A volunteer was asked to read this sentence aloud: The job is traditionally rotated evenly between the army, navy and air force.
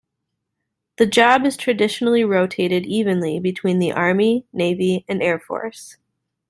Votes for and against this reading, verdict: 2, 0, accepted